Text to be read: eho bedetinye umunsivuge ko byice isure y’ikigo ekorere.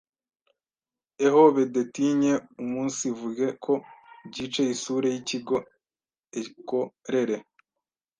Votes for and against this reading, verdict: 1, 2, rejected